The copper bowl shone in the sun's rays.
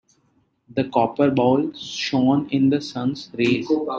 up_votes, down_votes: 0, 2